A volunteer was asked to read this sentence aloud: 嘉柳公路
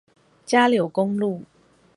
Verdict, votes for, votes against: accepted, 4, 0